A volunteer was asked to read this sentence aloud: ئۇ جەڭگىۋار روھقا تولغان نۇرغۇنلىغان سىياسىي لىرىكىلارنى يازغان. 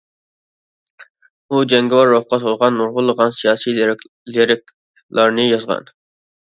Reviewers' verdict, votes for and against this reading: rejected, 0, 2